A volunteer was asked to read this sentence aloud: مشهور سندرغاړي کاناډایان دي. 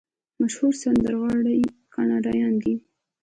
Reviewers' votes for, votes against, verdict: 1, 2, rejected